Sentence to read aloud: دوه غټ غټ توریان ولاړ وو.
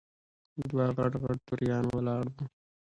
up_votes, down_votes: 1, 2